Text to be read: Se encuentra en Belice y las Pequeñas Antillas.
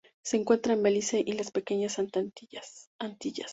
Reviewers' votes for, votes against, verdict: 0, 2, rejected